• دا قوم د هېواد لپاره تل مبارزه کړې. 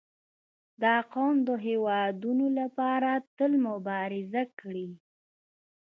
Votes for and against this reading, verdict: 1, 2, rejected